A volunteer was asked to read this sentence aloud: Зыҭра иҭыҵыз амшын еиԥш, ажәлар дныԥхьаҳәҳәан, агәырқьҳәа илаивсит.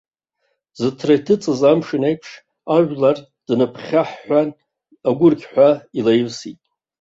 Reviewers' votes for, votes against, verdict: 1, 2, rejected